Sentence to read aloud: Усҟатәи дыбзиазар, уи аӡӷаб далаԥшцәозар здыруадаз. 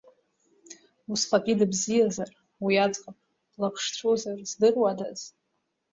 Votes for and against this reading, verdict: 1, 2, rejected